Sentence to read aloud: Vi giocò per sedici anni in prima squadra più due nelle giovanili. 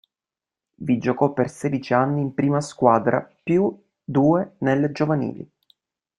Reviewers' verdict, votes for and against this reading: accepted, 2, 0